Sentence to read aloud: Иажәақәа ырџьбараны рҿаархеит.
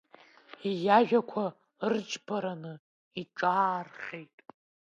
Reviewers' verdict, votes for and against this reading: rejected, 1, 2